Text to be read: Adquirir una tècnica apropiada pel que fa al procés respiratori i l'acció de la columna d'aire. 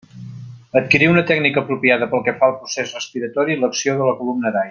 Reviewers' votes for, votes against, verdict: 0, 2, rejected